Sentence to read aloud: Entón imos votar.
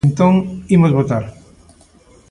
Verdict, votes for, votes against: accepted, 2, 0